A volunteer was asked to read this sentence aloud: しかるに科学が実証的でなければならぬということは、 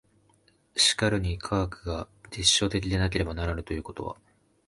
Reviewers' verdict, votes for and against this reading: accepted, 11, 1